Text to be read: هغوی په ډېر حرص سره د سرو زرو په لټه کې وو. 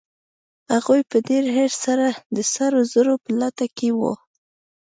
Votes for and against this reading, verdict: 1, 2, rejected